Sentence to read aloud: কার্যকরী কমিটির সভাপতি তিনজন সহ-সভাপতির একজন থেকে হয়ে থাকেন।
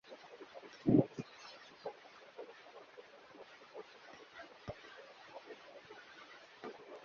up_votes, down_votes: 0, 2